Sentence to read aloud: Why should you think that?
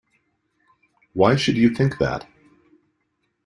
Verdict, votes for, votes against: accepted, 2, 0